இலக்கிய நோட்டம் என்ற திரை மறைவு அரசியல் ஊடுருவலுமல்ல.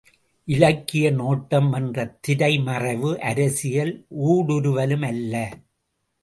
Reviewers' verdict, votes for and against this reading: accepted, 2, 0